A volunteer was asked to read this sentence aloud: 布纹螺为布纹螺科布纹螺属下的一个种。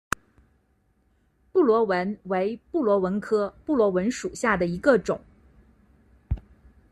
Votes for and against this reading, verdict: 1, 2, rejected